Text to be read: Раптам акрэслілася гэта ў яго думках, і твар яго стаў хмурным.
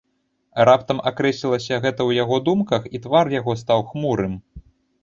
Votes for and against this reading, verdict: 1, 2, rejected